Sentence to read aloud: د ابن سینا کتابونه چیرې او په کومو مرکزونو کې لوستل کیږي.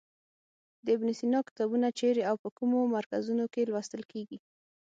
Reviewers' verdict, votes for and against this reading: accepted, 6, 0